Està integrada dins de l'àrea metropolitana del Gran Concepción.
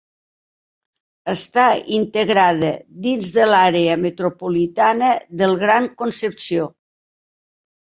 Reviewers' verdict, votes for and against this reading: accepted, 4, 0